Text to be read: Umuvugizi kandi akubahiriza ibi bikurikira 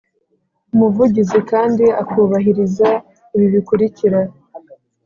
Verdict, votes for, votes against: accepted, 2, 0